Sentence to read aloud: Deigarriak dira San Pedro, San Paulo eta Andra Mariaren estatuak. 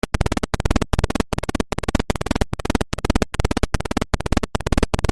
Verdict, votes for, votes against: rejected, 0, 2